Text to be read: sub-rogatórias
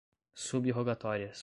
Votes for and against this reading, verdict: 2, 0, accepted